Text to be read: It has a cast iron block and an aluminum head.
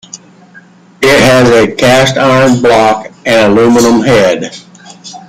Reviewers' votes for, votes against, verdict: 1, 2, rejected